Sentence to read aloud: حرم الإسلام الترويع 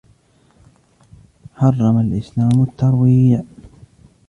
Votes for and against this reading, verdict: 0, 2, rejected